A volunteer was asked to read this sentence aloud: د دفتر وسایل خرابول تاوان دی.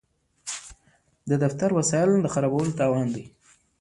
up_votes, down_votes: 0, 2